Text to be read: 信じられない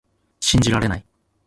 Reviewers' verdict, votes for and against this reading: rejected, 1, 2